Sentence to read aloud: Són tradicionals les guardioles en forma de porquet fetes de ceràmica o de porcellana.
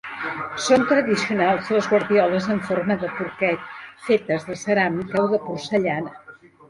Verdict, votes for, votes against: accepted, 2, 0